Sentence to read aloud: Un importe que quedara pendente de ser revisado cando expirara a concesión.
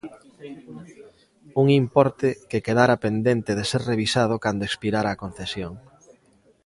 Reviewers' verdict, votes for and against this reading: rejected, 0, 2